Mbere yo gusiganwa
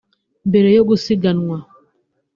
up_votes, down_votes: 2, 0